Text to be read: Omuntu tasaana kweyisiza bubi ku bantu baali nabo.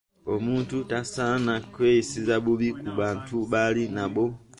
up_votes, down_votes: 3, 0